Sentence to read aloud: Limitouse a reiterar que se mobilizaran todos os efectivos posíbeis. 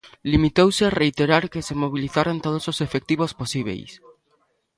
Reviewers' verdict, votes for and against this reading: accepted, 2, 0